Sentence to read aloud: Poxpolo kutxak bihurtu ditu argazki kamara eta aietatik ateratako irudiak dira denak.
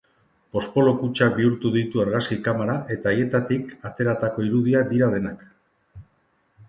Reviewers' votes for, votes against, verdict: 3, 1, accepted